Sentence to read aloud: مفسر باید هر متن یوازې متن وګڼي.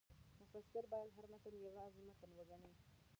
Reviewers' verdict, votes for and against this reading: rejected, 0, 2